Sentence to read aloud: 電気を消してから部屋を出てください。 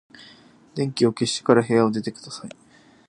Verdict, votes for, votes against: accepted, 2, 1